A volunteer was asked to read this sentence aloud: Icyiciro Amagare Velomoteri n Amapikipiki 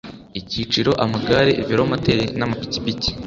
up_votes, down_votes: 2, 0